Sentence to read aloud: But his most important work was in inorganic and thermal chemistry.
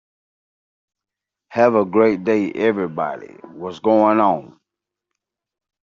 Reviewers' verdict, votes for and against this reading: rejected, 0, 2